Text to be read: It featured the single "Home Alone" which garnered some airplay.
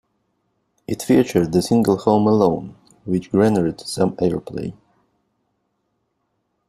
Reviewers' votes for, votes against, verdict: 0, 2, rejected